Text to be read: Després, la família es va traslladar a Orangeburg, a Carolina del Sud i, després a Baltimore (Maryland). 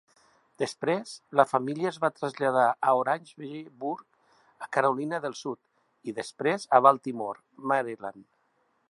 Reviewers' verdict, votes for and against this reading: rejected, 1, 2